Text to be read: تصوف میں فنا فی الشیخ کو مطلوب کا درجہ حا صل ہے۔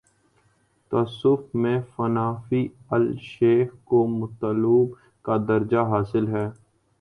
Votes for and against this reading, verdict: 1, 2, rejected